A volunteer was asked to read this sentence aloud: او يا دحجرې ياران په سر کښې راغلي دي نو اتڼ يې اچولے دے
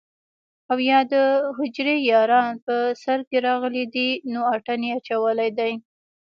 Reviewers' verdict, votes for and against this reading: accepted, 2, 0